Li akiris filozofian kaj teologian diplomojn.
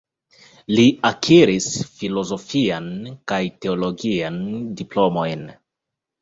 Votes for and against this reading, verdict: 1, 2, rejected